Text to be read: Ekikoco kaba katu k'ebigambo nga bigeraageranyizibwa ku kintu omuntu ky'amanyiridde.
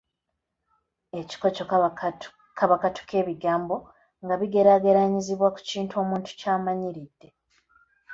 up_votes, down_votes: 2, 0